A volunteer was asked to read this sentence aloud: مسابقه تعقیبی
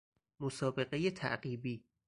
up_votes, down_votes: 4, 0